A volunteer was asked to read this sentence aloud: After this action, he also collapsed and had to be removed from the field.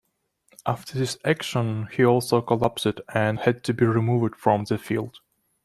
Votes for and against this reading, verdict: 2, 0, accepted